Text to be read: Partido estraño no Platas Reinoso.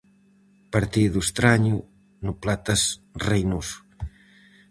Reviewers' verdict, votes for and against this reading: accepted, 4, 0